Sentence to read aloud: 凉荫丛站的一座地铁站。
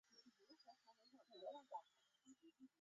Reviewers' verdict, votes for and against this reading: rejected, 0, 3